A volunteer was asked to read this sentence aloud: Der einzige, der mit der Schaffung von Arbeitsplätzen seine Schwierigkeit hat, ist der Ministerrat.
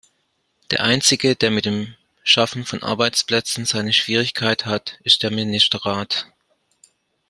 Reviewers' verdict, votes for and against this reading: rejected, 1, 2